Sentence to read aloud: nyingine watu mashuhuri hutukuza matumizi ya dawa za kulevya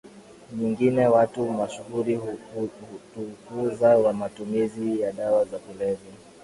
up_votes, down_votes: 2, 0